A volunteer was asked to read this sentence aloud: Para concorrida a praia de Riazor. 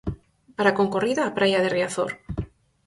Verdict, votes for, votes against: accepted, 4, 0